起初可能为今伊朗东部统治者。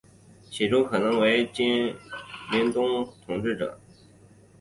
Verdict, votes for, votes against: rejected, 0, 2